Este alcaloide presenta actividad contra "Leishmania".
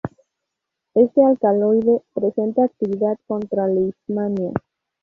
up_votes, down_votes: 0, 2